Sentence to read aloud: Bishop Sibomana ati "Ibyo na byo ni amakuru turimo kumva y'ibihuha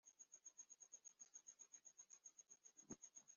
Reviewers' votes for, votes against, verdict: 0, 3, rejected